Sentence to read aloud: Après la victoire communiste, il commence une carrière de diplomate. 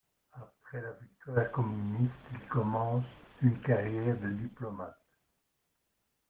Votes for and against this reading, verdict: 2, 0, accepted